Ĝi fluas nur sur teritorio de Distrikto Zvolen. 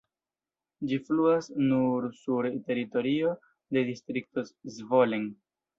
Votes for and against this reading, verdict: 0, 2, rejected